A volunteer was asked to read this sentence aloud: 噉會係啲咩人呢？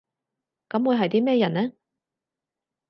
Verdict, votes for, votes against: accepted, 4, 0